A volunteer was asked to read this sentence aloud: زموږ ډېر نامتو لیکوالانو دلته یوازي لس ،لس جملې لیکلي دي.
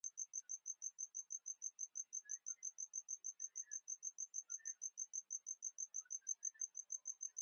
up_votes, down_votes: 0, 2